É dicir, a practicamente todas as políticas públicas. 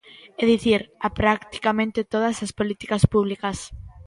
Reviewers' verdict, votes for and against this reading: accepted, 2, 0